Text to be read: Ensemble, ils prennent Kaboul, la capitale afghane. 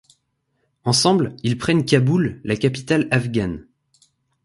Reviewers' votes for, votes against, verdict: 2, 0, accepted